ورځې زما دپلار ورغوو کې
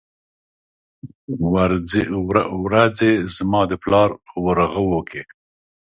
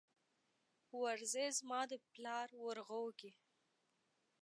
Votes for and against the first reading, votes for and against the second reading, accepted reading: 1, 2, 2, 1, second